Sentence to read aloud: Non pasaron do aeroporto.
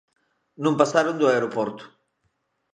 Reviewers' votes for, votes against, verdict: 2, 0, accepted